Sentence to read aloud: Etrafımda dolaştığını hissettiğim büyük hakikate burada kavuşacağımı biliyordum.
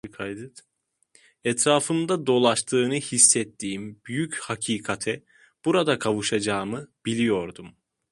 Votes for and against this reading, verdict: 0, 2, rejected